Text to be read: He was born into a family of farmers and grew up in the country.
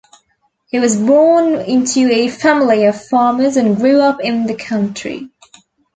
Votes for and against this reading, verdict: 2, 0, accepted